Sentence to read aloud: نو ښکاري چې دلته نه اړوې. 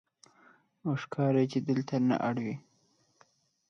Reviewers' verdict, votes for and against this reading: rejected, 0, 2